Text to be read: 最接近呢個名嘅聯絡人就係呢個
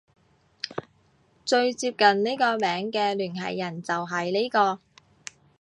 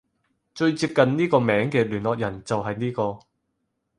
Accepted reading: second